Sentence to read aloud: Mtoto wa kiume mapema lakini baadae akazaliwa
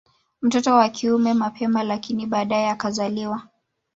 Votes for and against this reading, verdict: 0, 2, rejected